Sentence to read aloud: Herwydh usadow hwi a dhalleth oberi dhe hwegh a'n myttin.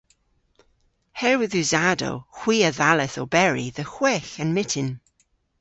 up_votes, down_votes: 2, 0